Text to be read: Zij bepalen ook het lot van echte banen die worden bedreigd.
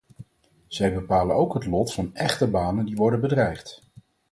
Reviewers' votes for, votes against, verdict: 4, 0, accepted